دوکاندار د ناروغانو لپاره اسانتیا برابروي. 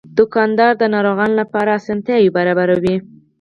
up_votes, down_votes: 4, 0